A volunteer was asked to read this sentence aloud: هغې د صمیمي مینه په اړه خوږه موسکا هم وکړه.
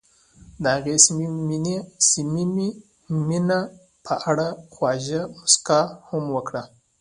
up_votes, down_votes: 1, 2